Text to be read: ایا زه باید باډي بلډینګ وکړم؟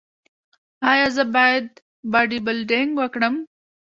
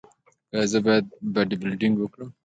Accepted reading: second